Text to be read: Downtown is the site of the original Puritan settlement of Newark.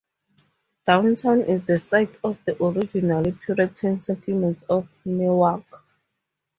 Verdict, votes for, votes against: rejected, 0, 2